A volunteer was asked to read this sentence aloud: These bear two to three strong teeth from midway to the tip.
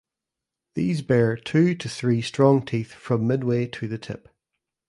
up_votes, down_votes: 2, 0